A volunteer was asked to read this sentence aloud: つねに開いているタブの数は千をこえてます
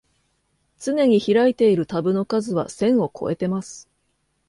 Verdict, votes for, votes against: accepted, 2, 0